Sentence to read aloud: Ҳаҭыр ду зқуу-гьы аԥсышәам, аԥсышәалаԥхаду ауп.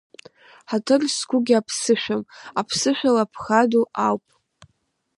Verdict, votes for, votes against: rejected, 0, 2